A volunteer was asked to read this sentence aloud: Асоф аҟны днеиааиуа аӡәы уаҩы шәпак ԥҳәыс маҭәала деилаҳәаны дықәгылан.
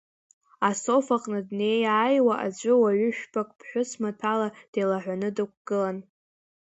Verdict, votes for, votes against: accepted, 2, 0